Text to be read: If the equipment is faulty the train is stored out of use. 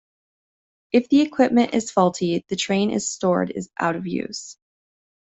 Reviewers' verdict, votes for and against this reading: rejected, 0, 2